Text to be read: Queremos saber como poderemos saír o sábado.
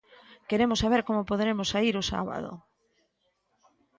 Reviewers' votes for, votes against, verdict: 2, 0, accepted